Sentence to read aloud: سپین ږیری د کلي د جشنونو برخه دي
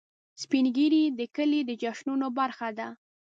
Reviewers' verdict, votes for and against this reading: rejected, 0, 2